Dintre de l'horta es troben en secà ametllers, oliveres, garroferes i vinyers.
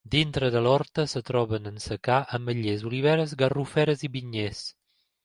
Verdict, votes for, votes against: rejected, 1, 2